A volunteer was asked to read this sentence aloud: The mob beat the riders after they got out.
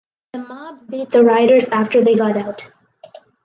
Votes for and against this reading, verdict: 4, 0, accepted